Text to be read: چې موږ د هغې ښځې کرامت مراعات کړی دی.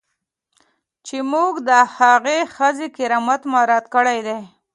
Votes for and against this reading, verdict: 2, 0, accepted